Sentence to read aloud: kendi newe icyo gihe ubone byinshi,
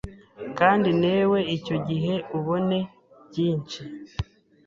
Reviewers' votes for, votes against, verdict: 1, 2, rejected